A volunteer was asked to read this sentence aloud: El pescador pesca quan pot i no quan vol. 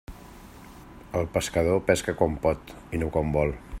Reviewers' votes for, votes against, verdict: 3, 0, accepted